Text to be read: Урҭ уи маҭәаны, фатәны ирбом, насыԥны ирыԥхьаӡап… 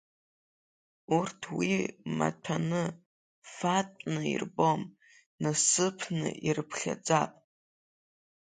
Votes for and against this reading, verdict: 1, 2, rejected